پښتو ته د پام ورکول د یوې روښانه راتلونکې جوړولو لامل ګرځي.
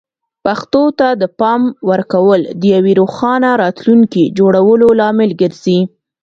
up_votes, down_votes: 2, 0